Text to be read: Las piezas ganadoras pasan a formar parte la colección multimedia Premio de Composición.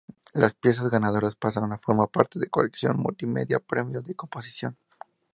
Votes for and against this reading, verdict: 0, 2, rejected